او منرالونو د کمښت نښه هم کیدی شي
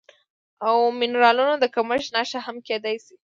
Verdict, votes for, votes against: accepted, 2, 0